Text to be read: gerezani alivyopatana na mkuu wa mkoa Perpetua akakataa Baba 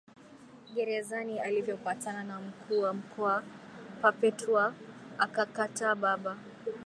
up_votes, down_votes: 2, 1